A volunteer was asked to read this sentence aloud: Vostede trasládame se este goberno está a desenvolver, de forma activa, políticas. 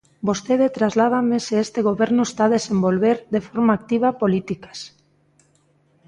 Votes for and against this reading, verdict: 2, 0, accepted